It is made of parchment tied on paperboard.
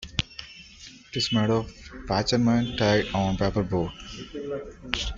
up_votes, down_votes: 1, 2